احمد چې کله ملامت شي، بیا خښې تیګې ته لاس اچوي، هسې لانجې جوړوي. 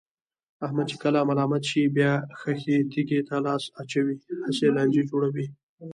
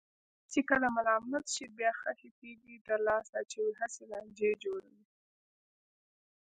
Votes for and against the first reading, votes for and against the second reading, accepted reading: 2, 1, 1, 2, first